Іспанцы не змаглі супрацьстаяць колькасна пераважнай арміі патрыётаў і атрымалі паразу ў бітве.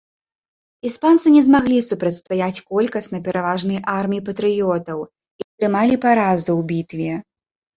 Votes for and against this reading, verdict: 1, 2, rejected